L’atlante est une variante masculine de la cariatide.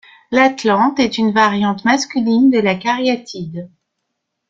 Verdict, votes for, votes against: accepted, 2, 0